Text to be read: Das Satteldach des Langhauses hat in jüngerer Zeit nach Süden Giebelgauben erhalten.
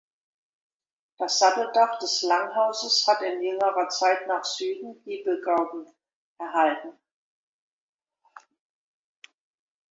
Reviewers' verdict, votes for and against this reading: accepted, 2, 0